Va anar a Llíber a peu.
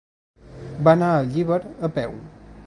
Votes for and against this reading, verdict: 2, 0, accepted